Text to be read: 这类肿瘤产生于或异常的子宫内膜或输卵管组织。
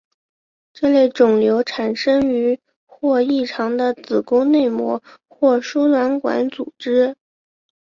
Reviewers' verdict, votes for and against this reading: accepted, 2, 1